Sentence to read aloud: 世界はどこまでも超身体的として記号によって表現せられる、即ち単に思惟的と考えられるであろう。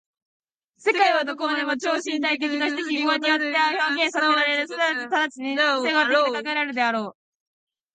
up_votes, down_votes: 0, 2